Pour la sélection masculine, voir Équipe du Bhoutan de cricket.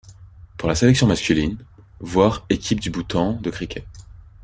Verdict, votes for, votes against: rejected, 1, 2